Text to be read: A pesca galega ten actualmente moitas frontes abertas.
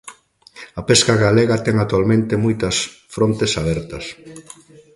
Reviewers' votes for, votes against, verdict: 2, 0, accepted